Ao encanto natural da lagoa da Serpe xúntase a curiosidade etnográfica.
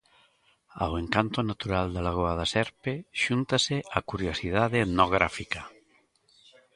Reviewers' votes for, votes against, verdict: 2, 0, accepted